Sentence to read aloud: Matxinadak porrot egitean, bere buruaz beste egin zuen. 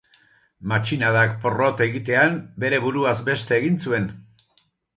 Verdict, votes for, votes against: accepted, 2, 0